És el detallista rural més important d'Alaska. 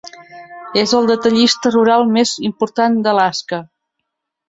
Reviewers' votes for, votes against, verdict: 7, 0, accepted